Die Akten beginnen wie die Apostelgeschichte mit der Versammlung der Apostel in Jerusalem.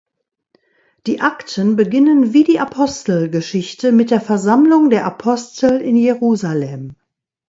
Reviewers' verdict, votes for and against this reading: accepted, 2, 0